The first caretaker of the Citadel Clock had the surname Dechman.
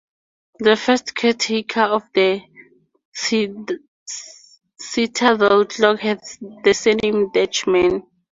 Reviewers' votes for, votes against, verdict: 2, 0, accepted